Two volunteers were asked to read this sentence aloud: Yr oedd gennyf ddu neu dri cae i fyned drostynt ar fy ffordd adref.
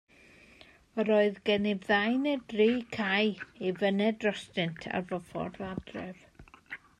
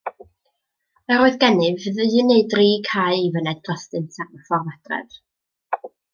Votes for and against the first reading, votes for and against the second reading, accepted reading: 2, 0, 1, 2, first